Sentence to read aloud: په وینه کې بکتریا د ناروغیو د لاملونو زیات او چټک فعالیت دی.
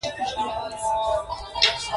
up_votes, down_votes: 2, 0